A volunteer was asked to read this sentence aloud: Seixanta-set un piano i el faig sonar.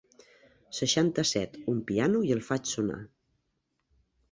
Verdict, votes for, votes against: accepted, 4, 0